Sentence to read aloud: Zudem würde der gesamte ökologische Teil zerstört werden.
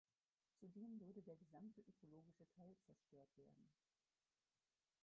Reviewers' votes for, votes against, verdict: 0, 4, rejected